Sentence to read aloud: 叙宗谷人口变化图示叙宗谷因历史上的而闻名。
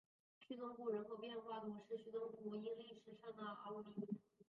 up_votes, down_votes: 2, 3